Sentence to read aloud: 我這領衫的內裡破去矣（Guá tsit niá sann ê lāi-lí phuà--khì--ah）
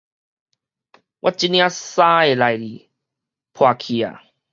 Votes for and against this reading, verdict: 2, 2, rejected